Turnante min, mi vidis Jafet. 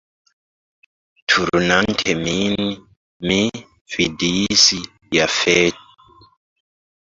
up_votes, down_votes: 0, 2